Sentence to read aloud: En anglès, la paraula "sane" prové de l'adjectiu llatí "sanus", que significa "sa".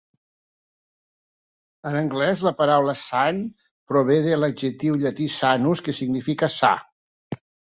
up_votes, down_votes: 2, 0